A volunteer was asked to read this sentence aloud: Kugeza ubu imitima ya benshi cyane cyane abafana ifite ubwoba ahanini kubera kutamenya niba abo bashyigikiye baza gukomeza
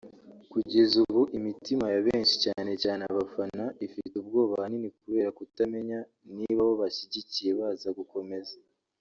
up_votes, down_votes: 1, 2